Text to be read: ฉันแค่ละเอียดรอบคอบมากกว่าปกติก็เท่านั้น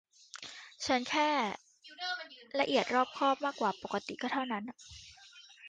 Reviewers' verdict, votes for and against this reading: accepted, 2, 1